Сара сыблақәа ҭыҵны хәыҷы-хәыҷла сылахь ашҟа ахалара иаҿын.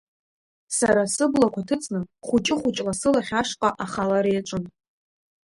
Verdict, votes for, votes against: rejected, 1, 2